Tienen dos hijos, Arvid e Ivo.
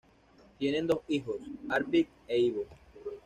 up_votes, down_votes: 2, 0